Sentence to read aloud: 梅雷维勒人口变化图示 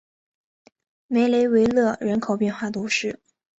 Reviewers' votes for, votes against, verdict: 4, 0, accepted